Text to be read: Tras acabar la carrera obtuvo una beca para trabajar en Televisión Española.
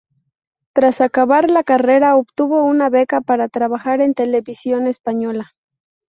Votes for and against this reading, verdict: 2, 0, accepted